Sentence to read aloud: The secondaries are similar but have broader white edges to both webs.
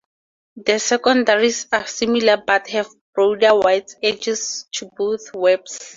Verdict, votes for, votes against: rejected, 2, 2